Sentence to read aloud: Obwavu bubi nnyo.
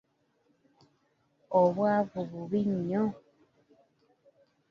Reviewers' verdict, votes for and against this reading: accepted, 2, 0